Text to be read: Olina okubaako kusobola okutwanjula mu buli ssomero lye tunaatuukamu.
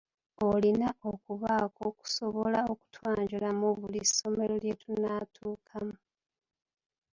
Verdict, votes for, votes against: accepted, 2, 0